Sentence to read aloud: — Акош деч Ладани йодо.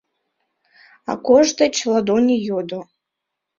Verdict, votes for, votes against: rejected, 0, 2